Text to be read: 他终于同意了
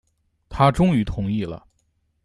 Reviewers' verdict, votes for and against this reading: accepted, 2, 0